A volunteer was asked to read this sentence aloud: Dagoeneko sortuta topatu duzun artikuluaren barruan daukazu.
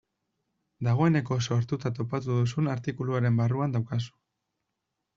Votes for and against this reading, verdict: 2, 0, accepted